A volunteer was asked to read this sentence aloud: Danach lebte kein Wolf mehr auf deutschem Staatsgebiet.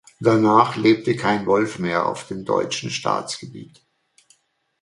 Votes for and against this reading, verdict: 1, 2, rejected